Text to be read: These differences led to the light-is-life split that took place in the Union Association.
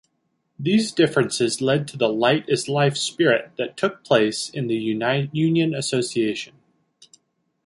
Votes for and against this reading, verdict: 1, 2, rejected